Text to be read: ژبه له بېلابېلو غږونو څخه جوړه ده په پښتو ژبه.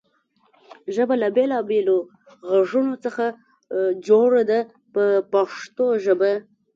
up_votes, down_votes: 1, 2